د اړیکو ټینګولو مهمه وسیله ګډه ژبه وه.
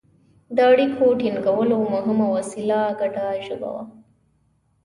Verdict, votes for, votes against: accepted, 2, 0